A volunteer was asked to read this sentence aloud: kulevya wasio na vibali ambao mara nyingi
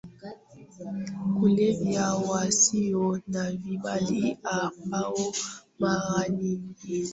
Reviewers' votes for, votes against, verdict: 0, 2, rejected